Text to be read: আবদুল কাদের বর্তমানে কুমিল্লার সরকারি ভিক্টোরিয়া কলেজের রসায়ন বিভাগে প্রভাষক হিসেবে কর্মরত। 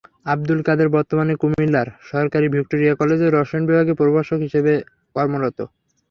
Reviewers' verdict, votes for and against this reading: accepted, 3, 0